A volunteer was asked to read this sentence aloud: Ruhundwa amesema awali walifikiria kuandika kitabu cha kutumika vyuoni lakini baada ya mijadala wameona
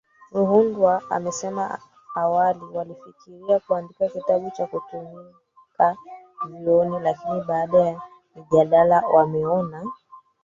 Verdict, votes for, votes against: rejected, 0, 3